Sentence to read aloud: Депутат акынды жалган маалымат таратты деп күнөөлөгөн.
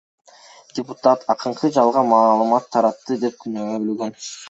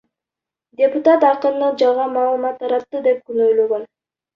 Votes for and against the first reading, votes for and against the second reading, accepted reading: 2, 1, 1, 2, first